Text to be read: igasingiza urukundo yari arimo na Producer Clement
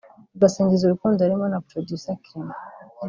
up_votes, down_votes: 2, 0